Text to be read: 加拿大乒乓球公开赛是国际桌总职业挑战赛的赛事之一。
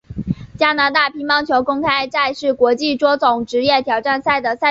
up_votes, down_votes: 0, 3